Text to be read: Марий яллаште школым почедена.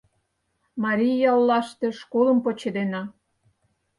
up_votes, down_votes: 4, 0